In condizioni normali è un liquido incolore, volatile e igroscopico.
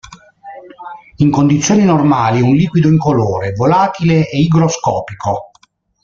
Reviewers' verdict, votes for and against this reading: accepted, 2, 0